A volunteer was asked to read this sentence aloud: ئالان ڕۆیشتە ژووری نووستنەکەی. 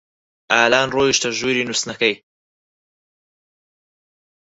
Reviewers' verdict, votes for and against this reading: accepted, 4, 0